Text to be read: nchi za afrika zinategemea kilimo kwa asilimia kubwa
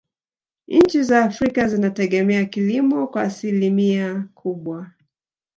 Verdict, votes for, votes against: rejected, 1, 2